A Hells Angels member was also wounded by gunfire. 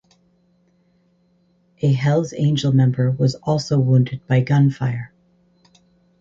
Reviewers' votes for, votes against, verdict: 0, 4, rejected